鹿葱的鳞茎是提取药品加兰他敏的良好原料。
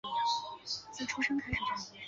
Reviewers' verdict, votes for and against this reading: rejected, 0, 2